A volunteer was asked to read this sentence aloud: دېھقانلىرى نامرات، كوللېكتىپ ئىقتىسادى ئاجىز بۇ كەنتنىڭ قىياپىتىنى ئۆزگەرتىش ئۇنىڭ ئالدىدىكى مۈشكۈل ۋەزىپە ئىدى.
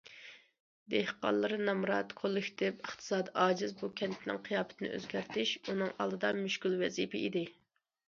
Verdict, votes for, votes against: rejected, 0, 2